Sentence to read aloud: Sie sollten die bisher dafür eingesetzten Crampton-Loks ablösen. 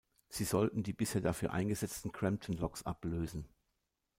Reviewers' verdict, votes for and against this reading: accepted, 2, 0